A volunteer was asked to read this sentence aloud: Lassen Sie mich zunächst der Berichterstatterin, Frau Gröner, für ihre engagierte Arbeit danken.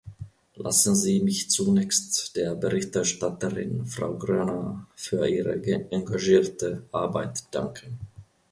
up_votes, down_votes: 0, 2